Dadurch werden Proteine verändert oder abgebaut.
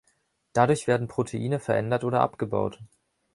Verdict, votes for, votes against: accepted, 3, 0